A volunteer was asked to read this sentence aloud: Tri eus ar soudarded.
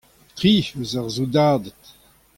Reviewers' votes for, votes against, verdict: 2, 0, accepted